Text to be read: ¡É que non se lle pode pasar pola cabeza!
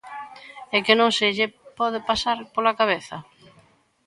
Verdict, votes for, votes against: accepted, 3, 0